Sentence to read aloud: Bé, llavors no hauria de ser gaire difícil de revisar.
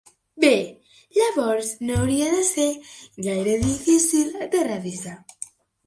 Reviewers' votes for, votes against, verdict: 2, 0, accepted